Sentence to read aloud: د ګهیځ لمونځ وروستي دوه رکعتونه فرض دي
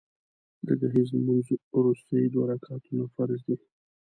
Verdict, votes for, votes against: rejected, 1, 2